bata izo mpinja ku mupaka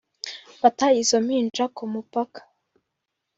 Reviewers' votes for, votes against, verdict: 2, 0, accepted